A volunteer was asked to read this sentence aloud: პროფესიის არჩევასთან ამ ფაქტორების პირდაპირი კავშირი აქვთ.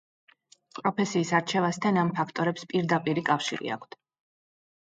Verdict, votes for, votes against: accepted, 2, 0